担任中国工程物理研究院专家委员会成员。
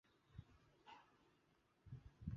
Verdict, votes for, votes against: rejected, 0, 2